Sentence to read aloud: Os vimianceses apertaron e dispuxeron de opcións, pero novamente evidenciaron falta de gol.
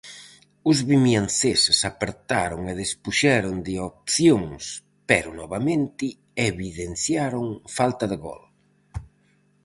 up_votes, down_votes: 2, 2